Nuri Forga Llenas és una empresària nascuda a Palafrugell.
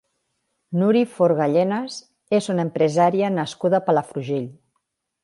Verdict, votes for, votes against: accepted, 2, 0